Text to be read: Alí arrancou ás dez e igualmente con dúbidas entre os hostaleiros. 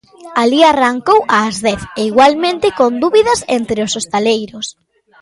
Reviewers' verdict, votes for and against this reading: accepted, 2, 0